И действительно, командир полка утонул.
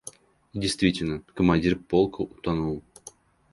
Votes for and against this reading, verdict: 1, 2, rejected